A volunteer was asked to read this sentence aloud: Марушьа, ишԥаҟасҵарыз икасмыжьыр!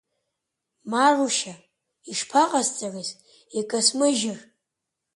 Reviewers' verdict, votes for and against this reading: accepted, 2, 0